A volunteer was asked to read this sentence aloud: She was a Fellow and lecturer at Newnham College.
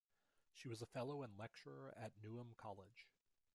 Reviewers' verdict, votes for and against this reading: accepted, 2, 0